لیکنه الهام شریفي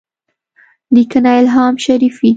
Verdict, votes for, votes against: rejected, 0, 2